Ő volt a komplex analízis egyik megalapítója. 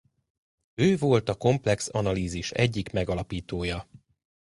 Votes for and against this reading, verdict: 2, 0, accepted